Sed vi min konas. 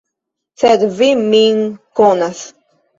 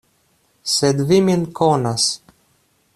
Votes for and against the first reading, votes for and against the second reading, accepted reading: 1, 2, 2, 0, second